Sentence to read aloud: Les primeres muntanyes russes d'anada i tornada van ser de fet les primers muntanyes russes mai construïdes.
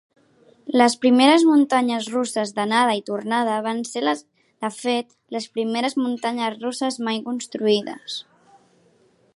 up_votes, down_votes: 0, 2